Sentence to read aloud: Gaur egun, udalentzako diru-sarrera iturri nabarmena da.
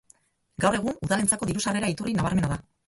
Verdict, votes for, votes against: rejected, 2, 2